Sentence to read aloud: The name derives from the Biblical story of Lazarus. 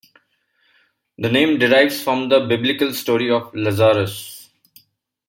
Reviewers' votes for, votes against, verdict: 2, 0, accepted